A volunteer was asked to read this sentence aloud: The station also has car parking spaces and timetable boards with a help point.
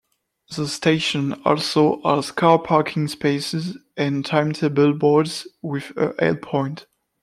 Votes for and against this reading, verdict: 2, 0, accepted